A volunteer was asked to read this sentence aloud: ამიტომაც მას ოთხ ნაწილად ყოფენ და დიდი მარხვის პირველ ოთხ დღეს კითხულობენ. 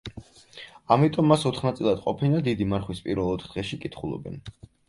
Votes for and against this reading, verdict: 0, 4, rejected